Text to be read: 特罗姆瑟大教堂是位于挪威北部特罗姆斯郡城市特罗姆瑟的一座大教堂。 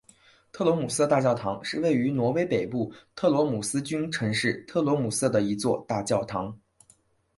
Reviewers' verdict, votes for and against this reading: accepted, 10, 1